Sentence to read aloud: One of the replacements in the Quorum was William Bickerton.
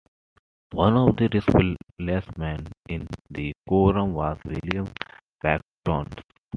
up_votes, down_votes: 2, 0